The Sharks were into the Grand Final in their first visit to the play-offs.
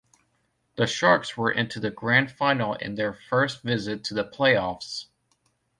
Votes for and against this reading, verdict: 2, 0, accepted